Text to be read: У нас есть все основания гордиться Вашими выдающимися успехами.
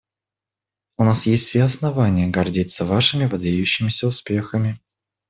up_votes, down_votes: 1, 2